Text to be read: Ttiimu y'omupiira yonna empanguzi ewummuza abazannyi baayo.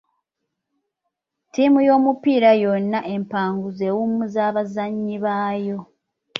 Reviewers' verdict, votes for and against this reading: accepted, 2, 1